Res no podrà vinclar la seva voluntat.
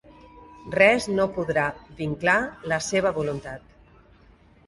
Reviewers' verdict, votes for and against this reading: accepted, 4, 0